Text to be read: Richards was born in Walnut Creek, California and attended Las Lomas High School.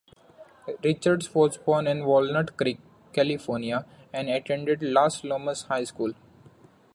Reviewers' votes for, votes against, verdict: 2, 0, accepted